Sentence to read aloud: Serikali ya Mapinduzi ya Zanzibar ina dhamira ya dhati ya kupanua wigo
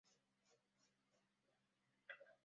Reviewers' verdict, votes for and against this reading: rejected, 0, 2